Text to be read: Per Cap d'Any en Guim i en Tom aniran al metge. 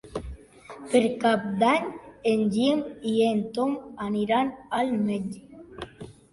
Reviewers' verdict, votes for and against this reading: accepted, 2, 1